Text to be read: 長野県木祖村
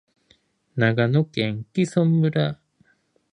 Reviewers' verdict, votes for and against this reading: rejected, 2, 6